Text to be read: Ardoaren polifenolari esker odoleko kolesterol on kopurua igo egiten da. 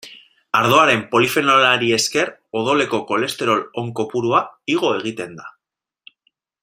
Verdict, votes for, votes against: rejected, 0, 2